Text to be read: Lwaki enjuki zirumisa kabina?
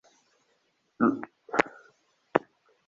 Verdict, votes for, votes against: rejected, 0, 2